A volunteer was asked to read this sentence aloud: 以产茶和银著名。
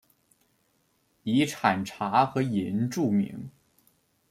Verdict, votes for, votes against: accepted, 2, 0